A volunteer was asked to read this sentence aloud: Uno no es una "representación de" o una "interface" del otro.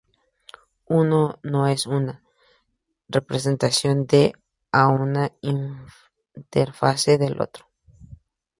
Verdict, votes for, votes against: rejected, 0, 2